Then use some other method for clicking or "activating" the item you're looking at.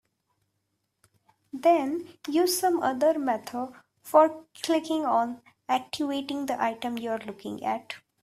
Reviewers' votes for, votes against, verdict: 2, 1, accepted